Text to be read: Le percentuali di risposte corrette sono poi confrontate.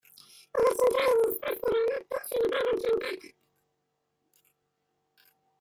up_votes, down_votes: 0, 3